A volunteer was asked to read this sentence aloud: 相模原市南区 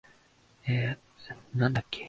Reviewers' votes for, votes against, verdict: 4, 13, rejected